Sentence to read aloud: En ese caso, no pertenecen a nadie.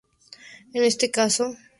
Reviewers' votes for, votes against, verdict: 0, 2, rejected